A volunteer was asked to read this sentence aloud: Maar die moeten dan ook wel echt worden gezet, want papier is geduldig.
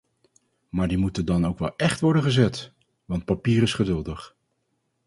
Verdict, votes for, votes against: accepted, 4, 0